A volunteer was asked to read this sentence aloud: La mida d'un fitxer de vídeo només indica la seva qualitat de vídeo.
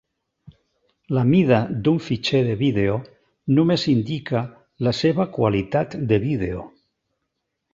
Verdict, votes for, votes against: accepted, 2, 0